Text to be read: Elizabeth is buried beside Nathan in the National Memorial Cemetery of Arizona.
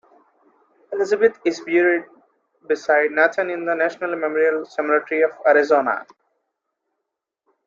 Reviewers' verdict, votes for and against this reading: rejected, 0, 2